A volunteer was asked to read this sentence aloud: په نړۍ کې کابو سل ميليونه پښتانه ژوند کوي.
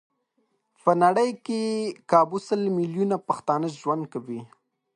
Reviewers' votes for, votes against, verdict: 2, 0, accepted